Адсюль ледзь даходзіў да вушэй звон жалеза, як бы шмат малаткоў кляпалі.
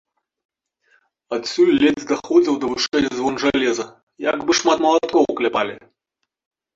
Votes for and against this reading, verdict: 0, 2, rejected